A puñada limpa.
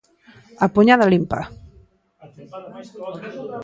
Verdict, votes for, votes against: rejected, 1, 2